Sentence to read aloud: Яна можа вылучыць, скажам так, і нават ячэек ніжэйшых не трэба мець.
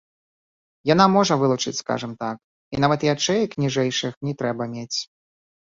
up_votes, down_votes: 2, 1